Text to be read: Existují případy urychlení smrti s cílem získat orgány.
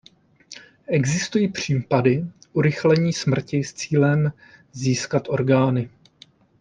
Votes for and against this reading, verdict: 2, 0, accepted